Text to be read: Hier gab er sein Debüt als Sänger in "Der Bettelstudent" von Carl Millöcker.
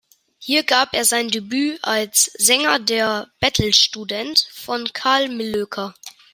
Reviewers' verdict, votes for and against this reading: rejected, 1, 2